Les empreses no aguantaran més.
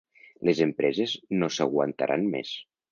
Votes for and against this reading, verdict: 0, 2, rejected